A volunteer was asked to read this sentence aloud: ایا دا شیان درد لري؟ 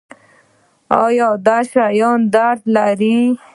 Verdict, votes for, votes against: rejected, 0, 2